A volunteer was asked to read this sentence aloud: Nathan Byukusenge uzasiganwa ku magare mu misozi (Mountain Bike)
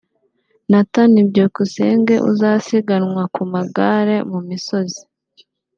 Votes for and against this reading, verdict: 1, 2, rejected